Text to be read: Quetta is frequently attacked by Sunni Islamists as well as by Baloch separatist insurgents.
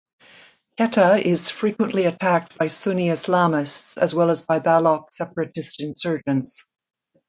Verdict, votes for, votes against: accepted, 2, 1